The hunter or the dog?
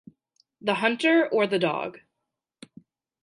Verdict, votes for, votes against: accepted, 2, 0